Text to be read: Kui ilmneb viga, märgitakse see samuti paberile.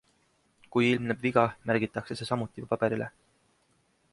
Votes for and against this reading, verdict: 2, 0, accepted